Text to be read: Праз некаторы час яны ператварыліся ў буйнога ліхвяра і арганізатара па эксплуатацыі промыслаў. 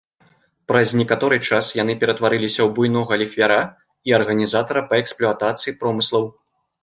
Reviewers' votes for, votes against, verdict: 1, 2, rejected